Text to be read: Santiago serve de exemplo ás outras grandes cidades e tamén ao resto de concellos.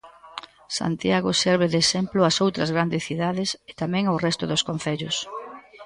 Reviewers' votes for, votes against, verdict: 2, 3, rejected